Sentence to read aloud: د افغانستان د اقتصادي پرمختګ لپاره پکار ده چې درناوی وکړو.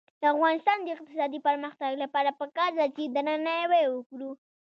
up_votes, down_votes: 2, 3